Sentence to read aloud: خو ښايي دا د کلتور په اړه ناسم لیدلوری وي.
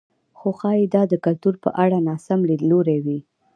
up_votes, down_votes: 2, 0